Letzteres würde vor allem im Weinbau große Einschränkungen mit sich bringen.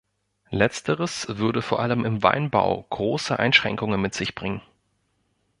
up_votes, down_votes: 2, 0